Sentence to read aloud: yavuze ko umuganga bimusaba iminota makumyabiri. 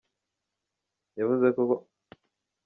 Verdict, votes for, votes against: rejected, 0, 2